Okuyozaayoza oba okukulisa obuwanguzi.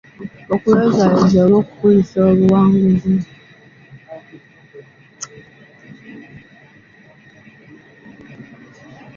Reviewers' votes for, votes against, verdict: 2, 0, accepted